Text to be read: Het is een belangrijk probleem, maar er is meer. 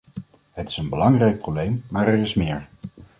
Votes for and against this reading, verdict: 2, 0, accepted